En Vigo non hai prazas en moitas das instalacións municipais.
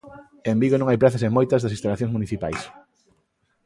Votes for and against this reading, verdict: 2, 0, accepted